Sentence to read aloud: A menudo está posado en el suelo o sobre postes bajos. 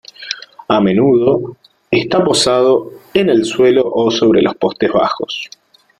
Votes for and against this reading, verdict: 0, 2, rejected